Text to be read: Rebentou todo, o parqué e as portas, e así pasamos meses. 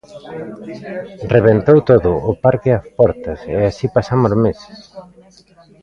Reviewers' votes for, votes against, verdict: 0, 2, rejected